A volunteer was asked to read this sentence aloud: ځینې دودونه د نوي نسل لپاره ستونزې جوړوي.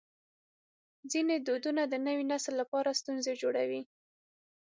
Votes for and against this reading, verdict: 6, 0, accepted